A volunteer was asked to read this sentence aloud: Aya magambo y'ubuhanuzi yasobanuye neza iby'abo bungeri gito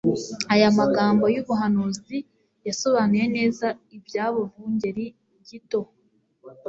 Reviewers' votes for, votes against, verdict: 2, 0, accepted